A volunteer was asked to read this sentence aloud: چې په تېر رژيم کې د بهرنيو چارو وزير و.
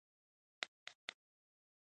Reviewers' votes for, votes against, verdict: 1, 2, rejected